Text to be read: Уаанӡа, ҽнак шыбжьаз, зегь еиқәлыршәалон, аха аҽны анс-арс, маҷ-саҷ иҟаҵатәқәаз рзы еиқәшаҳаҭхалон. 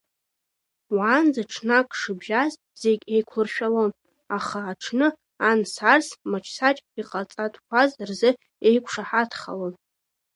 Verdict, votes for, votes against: rejected, 0, 2